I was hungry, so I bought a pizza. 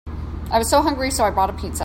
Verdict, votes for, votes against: rejected, 0, 2